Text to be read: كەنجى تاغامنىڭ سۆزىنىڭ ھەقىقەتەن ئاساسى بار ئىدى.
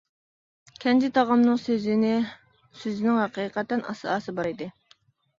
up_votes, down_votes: 0, 2